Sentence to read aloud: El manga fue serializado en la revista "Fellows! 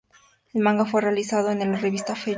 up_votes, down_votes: 0, 2